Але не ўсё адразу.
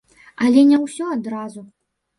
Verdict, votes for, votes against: rejected, 0, 2